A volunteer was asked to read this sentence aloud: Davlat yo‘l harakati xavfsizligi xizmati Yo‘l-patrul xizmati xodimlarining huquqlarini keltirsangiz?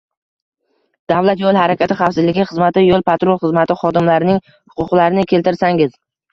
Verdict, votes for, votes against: accepted, 2, 0